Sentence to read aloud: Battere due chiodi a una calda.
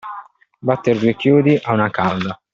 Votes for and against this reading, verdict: 2, 0, accepted